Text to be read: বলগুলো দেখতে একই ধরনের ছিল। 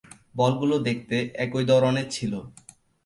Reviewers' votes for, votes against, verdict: 2, 0, accepted